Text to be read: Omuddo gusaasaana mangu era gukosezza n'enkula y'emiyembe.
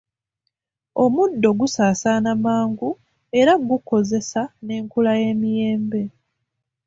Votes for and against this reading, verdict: 2, 0, accepted